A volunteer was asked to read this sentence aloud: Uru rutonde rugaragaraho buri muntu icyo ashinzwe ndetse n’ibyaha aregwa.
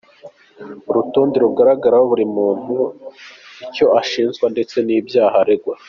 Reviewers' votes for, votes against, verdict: 2, 0, accepted